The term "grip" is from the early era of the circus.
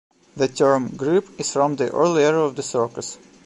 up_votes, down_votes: 0, 2